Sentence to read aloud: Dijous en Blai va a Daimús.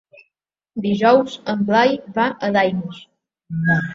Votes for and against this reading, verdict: 2, 1, accepted